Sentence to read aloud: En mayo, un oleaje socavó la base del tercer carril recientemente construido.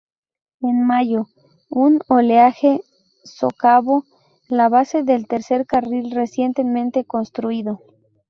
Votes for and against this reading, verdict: 0, 2, rejected